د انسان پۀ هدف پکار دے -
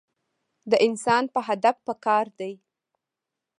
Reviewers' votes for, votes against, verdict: 2, 1, accepted